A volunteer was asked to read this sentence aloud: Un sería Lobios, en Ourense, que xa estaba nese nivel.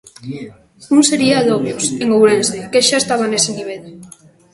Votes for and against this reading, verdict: 1, 2, rejected